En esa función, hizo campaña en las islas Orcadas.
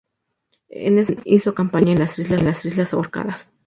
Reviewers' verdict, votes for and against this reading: rejected, 0, 2